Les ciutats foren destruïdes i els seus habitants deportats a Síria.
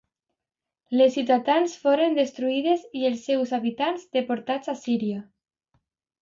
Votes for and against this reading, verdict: 0, 2, rejected